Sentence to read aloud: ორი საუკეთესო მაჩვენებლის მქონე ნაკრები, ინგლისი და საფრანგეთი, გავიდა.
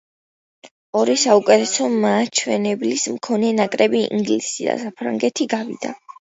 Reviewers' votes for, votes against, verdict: 1, 2, rejected